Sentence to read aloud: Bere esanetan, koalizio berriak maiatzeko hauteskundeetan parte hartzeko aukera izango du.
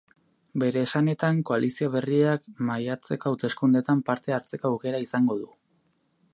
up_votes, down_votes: 0, 2